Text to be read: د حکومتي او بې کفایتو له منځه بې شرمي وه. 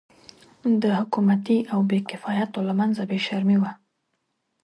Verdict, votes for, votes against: accepted, 2, 0